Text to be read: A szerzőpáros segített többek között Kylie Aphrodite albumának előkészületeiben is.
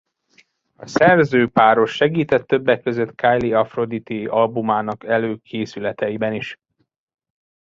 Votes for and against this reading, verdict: 2, 0, accepted